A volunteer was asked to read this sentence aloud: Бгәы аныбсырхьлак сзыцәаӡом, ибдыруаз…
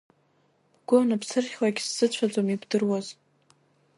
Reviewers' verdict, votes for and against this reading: accepted, 2, 1